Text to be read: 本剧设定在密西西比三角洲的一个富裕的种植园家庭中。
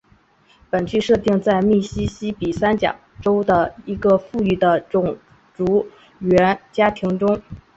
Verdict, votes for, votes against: rejected, 0, 2